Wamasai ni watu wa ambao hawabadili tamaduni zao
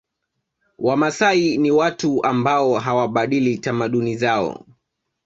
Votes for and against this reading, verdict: 0, 2, rejected